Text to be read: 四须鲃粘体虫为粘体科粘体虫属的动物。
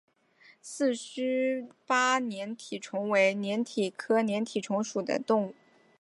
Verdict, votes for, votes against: accepted, 3, 0